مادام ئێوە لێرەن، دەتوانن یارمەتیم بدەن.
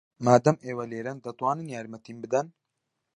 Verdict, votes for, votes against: accepted, 2, 0